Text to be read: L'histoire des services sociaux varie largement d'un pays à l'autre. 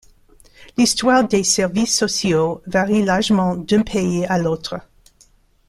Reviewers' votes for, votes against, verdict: 0, 2, rejected